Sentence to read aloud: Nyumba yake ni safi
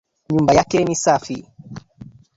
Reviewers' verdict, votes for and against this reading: rejected, 1, 2